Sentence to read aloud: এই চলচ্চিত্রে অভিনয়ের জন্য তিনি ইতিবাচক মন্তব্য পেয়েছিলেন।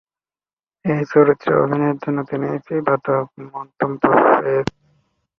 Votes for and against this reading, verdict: 0, 2, rejected